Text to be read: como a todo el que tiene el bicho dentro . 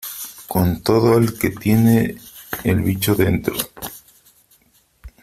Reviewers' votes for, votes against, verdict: 1, 2, rejected